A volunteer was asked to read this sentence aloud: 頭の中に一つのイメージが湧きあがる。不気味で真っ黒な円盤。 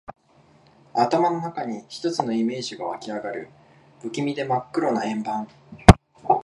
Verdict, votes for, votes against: accepted, 9, 2